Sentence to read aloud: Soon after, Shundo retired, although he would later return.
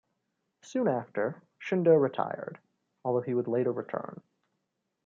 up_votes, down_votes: 2, 0